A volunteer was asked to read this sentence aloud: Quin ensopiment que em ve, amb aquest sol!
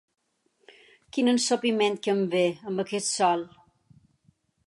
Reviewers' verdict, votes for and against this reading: accepted, 7, 0